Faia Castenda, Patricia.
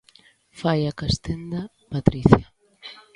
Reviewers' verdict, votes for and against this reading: rejected, 1, 2